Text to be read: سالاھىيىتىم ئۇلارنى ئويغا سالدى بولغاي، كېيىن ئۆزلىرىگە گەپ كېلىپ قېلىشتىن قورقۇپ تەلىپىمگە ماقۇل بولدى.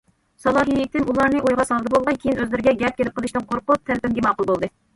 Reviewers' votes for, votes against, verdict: 2, 0, accepted